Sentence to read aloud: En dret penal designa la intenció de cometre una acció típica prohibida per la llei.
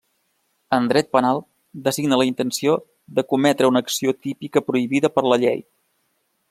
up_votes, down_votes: 3, 0